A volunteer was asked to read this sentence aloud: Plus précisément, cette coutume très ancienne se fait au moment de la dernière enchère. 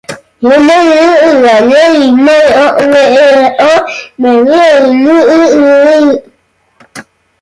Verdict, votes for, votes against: rejected, 0, 2